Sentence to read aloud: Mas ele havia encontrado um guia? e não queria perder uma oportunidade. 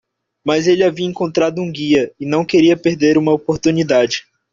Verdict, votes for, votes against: accepted, 2, 0